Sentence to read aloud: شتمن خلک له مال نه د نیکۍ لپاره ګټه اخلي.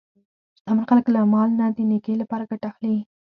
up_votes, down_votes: 6, 4